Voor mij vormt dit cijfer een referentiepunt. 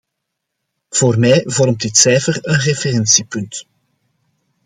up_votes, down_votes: 2, 0